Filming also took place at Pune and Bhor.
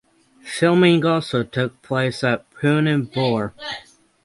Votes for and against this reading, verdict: 3, 3, rejected